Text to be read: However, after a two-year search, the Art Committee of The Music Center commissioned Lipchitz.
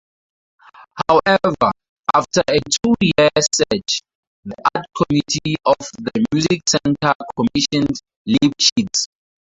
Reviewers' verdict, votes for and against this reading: rejected, 0, 2